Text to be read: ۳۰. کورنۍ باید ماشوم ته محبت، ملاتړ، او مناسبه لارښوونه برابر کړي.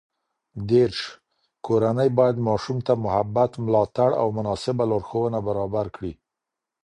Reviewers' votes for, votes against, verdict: 0, 2, rejected